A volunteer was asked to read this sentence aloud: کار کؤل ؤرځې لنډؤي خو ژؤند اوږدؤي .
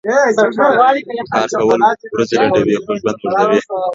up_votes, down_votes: 1, 2